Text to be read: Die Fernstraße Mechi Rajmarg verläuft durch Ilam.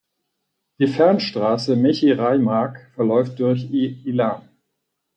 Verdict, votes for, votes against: rejected, 0, 4